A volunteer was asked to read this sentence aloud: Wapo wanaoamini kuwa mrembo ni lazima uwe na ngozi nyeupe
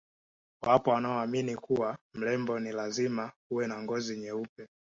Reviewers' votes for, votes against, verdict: 2, 0, accepted